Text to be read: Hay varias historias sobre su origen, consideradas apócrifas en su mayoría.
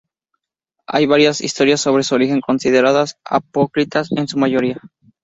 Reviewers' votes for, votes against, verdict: 0, 2, rejected